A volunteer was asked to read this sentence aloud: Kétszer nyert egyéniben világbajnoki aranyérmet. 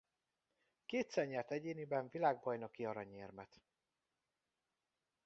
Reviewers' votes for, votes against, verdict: 2, 0, accepted